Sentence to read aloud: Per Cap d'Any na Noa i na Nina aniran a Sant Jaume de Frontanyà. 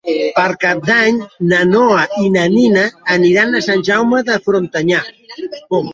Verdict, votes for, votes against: rejected, 1, 2